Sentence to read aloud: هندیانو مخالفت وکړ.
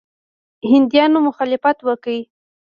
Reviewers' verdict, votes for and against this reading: rejected, 1, 2